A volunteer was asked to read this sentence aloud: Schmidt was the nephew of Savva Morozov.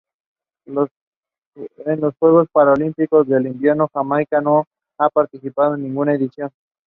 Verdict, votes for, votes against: rejected, 0, 2